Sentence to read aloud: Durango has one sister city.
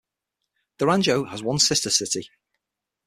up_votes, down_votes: 6, 0